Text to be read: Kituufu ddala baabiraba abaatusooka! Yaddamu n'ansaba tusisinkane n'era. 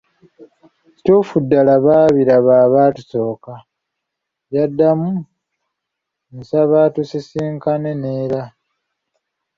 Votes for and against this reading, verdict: 1, 2, rejected